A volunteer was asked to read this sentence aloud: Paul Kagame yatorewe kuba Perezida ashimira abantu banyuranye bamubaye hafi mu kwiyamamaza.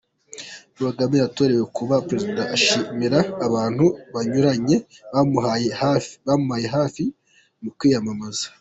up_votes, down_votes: 0, 2